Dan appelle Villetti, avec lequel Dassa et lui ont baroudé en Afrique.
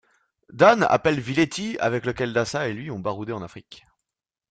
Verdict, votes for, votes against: accepted, 2, 0